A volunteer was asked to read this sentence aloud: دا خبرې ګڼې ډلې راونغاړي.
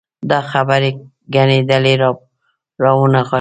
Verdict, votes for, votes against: rejected, 0, 2